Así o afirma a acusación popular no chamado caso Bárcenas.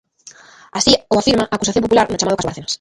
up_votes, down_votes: 0, 2